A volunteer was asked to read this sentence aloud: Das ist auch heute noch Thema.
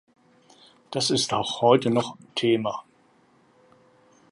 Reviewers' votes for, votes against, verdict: 2, 0, accepted